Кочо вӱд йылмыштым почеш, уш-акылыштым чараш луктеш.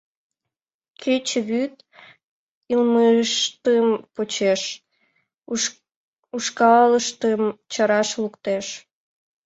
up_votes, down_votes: 2, 5